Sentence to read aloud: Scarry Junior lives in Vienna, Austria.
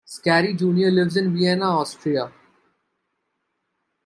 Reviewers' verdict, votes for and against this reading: accepted, 2, 1